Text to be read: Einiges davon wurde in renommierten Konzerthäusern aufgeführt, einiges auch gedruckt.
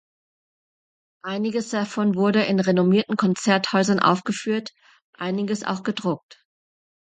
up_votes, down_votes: 2, 0